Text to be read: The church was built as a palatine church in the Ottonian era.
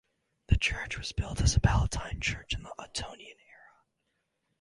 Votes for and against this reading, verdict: 2, 2, rejected